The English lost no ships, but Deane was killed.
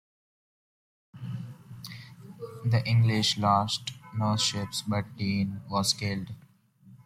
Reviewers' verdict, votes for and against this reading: accepted, 2, 0